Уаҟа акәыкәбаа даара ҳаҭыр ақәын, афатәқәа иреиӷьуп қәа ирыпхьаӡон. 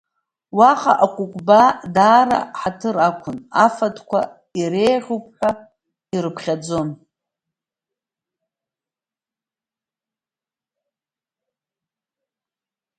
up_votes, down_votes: 0, 2